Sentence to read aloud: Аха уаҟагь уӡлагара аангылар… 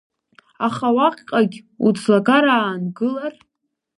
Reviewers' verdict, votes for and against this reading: rejected, 1, 2